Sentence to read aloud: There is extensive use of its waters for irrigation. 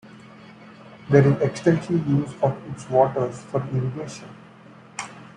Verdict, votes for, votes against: rejected, 0, 2